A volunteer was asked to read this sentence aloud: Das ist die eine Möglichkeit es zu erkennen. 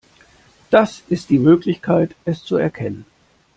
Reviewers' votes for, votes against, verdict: 0, 2, rejected